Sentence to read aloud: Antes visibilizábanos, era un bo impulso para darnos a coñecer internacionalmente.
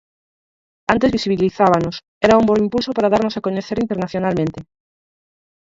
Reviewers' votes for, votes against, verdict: 4, 0, accepted